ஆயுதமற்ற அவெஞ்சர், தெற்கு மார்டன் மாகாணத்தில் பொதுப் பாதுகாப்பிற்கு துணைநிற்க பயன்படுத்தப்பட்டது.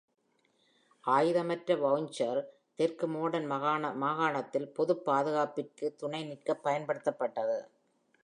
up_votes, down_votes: 0, 2